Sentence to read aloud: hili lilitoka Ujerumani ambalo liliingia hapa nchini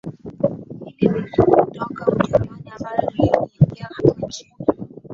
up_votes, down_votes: 0, 10